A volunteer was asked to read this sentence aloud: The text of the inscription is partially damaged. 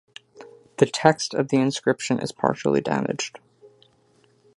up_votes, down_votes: 2, 0